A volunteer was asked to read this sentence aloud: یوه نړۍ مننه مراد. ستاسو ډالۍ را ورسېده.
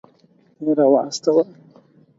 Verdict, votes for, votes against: rejected, 0, 4